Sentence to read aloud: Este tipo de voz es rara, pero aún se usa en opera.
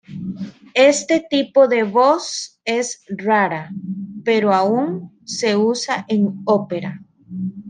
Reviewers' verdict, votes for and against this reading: accepted, 2, 0